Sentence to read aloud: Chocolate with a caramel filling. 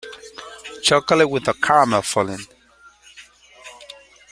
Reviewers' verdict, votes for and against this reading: accepted, 2, 0